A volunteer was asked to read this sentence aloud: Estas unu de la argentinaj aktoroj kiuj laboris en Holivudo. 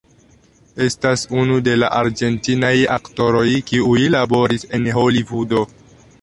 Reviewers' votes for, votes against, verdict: 2, 1, accepted